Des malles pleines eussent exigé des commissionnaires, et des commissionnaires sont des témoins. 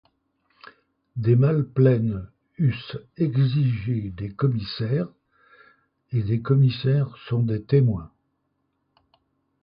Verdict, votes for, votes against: rejected, 1, 2